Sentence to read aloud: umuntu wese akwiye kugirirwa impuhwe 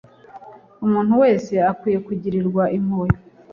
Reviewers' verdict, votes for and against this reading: accepted, 2, 0